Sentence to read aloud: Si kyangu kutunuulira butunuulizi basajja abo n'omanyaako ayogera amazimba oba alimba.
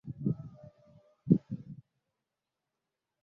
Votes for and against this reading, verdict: 0, 2, rejected